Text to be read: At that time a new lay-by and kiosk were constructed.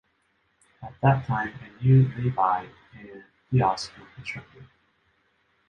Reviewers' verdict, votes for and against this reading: rejected, 0, 2